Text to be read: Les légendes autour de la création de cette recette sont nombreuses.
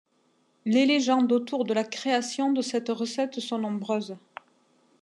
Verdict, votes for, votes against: accepted, 2, 0